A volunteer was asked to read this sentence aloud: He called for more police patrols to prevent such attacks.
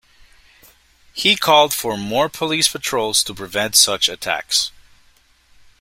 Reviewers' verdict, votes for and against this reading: accepted, 2, 0